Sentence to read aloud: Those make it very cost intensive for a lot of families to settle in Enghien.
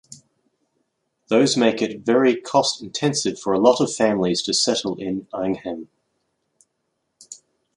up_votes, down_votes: 2, 0